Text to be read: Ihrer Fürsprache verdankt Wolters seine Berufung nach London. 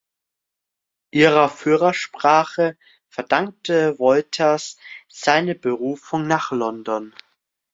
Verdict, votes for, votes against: rejected, 0, 2